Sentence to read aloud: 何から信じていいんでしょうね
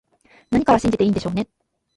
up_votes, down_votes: 1, 2